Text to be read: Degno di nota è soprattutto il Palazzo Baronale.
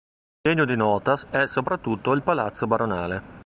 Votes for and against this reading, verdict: 2, 0, accepted